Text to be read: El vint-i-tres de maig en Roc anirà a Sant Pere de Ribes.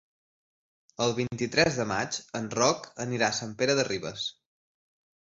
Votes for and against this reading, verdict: 3, 0, accepted